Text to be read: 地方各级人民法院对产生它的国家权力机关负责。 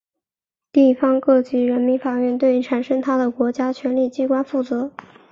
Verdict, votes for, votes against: accepted, 2, 0